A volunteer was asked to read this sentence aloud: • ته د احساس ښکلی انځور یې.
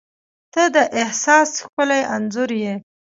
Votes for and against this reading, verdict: 1, 2, rejected